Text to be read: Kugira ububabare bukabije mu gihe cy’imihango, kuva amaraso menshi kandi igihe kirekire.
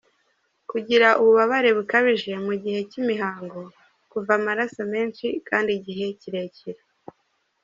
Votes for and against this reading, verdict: 2, 1, accepted